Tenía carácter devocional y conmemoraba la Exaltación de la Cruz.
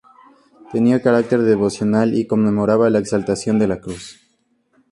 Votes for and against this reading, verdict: 4, 2, accepted